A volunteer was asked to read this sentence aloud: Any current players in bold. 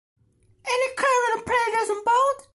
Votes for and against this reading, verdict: 1, 2, rejected